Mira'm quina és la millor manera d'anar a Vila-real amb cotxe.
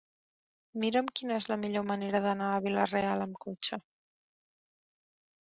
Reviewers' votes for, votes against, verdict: 4, 0, accepted